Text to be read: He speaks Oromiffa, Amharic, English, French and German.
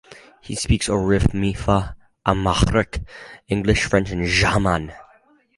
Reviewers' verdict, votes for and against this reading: accepted, 4, 2